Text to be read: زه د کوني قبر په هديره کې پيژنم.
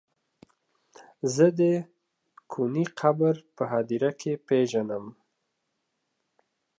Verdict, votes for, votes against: accepted, 2, 0